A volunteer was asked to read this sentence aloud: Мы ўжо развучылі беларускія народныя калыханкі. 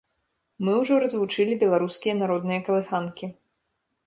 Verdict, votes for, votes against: accepted, 2, 0